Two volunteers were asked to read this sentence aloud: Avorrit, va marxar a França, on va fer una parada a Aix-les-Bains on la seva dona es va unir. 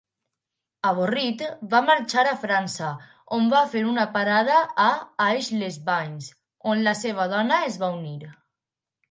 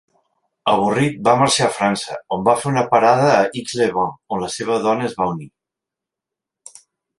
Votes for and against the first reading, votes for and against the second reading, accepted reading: 4, 0, 1, 2, first